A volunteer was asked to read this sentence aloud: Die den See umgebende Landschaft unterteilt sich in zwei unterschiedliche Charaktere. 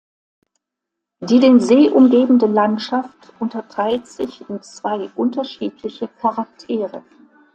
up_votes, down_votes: 2, 1